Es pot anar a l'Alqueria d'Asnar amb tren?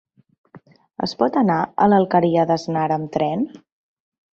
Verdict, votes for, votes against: accepted, 2, 0